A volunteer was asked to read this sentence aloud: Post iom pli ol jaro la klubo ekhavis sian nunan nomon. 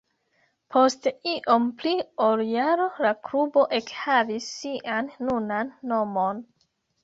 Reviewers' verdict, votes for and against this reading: rejected, 0, 2